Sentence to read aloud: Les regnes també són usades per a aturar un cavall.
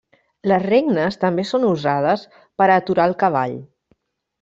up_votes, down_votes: 0, 2